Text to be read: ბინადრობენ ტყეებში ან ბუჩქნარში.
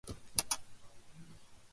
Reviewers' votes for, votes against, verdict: 0, 2, rejected